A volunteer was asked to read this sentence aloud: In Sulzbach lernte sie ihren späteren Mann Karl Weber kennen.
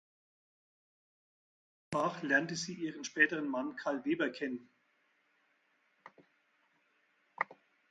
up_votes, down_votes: 0, 4